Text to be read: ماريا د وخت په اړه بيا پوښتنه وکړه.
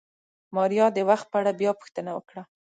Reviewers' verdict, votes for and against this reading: accepted, 2, 0